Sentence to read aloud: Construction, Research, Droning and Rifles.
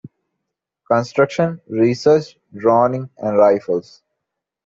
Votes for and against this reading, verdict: 2, 0, accepted